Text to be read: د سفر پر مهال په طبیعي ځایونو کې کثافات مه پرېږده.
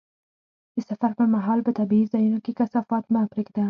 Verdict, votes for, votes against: rejected, 2, 4